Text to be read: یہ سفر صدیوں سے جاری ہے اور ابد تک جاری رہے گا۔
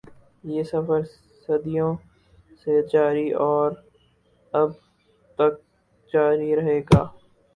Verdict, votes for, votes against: rejected, 0, 4